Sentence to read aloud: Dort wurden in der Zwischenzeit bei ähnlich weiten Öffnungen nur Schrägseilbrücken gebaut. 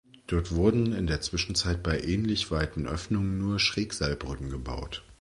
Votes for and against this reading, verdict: 2, 0, accepted